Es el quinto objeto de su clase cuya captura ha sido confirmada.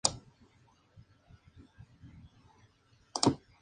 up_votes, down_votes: 0, 2